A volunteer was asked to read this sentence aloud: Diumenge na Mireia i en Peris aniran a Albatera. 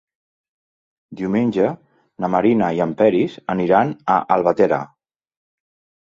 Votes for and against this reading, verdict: 2, 0, accepted